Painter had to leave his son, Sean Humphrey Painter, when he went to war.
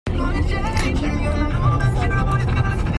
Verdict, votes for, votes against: rejected, 0, 2